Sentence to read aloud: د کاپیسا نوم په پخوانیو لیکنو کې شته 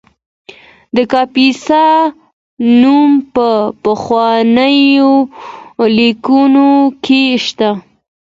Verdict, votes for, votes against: accepted, 2, 0